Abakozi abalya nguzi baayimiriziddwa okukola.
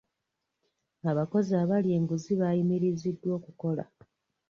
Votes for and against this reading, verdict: 1, 2, rejected